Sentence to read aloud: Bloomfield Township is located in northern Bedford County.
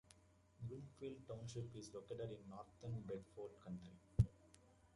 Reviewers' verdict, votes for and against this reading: rejected, 1, 2